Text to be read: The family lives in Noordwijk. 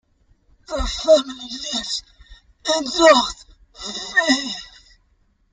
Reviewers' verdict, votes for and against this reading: rejected, 0, 2